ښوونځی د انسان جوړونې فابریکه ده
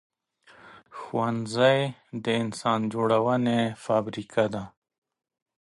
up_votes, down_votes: 3, 0